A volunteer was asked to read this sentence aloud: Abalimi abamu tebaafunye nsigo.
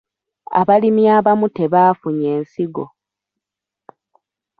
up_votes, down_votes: 2, 0